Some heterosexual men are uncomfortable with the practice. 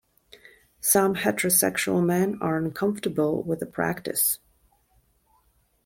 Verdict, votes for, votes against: accepted, 2, 0